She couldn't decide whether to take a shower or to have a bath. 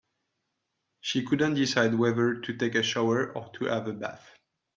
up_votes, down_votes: 2, 0